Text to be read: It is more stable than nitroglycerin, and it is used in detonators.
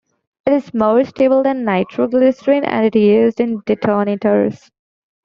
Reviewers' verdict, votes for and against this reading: rejected, 1, 2